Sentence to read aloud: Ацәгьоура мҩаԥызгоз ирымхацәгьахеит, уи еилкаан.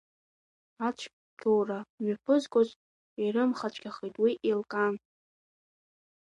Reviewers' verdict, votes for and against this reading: accepted, 2, 1